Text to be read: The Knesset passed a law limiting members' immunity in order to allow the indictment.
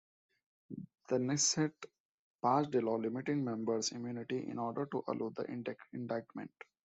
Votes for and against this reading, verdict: 1, 2, rejected